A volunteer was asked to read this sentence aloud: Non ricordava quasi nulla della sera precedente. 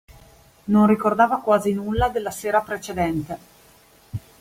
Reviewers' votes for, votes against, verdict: 2, 0, accepted